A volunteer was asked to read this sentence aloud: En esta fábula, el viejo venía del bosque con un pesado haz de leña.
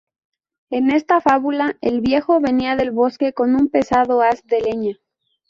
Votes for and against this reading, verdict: 2, 0, accepted